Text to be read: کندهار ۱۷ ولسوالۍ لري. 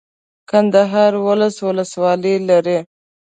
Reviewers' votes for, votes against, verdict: 0, 2, rejected